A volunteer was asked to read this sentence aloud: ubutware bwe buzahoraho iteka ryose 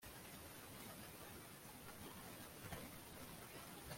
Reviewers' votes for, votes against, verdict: 0, 2, rejected